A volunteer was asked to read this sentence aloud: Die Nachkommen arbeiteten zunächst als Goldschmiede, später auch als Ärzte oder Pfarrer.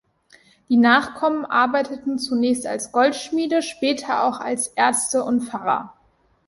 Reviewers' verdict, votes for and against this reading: rejected, 1, 2